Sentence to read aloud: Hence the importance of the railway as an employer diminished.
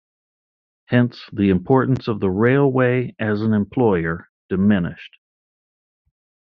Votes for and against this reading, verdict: 2, 0, accepted